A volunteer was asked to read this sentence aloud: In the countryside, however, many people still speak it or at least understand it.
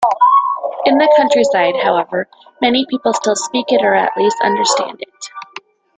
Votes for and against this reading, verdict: 2, 0, accepted